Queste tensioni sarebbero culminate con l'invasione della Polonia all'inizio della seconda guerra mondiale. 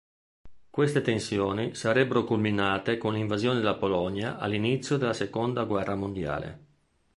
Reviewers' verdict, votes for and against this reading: accepted, 2, 0